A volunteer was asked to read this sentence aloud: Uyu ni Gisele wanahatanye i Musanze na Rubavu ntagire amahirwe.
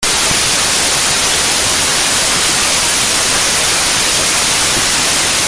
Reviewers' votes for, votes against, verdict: 0, 2, rejected